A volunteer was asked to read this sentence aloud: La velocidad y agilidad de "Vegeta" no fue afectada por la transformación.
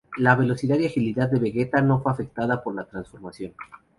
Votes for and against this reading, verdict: 2, 0, accepted